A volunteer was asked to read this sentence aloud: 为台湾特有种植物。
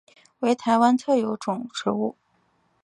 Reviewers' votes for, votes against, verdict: 2, 0, accepted